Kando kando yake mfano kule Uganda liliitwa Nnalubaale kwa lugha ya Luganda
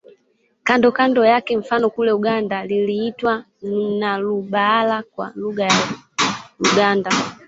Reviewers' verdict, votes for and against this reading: rejected, 0, 2